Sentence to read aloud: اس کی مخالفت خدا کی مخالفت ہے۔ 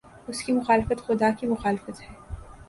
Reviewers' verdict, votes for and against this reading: accepted, 2, 0